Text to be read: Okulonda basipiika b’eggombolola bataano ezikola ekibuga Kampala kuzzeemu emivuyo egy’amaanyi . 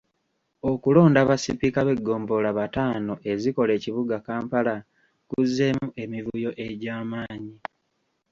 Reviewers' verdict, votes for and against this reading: accepted, 2, 0